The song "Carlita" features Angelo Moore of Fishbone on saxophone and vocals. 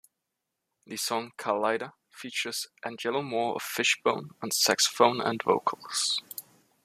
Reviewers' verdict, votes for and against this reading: accepted, 2, 1